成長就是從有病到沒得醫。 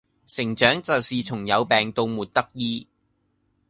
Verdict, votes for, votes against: accepted, 2, 0